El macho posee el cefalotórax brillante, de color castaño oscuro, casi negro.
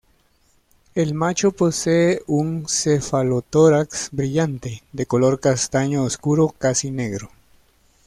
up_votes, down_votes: 1, 2